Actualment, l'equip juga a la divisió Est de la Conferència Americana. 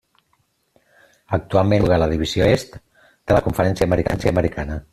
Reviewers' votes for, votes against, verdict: 0, 2, rejected